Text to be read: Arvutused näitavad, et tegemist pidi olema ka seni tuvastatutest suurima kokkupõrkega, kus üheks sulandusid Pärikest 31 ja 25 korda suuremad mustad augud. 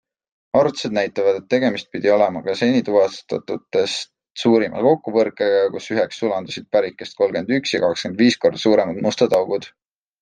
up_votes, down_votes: 0, 2